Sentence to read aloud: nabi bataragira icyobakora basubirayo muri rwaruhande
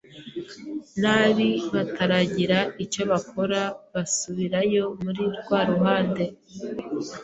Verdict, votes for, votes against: accepted, 2, 0